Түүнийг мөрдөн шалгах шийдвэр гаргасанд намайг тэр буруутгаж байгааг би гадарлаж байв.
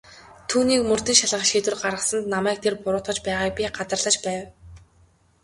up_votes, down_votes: 2, 0